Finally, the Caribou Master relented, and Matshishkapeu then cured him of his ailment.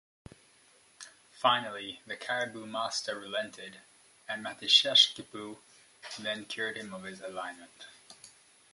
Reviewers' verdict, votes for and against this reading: rejected, 0, 2